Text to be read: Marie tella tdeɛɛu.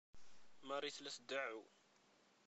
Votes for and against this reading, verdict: 0, 2, rejected